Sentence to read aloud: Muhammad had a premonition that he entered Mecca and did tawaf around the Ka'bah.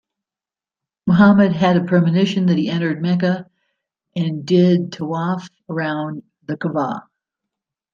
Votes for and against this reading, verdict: 2, 0, accepted